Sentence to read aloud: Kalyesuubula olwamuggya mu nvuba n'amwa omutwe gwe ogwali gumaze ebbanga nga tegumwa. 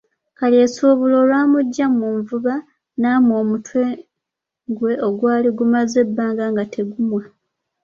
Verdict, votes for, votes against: accepted, 2, 0